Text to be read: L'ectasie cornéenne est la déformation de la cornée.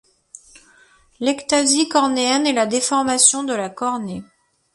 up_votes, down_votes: 2, 0